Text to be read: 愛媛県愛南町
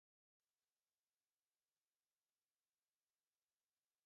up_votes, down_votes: 0, 2